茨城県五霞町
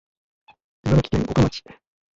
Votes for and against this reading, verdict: 1, 2, rejected